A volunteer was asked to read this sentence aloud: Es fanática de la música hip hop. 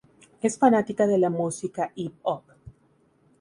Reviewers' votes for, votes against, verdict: 0, 4, rejected